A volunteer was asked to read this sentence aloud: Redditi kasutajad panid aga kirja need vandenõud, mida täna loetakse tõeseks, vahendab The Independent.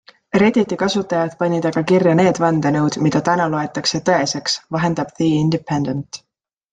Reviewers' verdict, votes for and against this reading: accepted, 2, 0